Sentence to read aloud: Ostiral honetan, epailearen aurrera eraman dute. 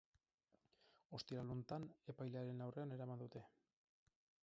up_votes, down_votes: 0, 4